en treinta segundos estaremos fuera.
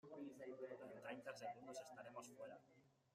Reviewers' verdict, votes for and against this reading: rejected, 0, 2